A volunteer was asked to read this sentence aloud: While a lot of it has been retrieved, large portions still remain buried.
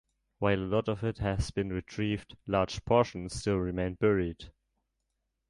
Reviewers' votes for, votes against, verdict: 0, 2, rejected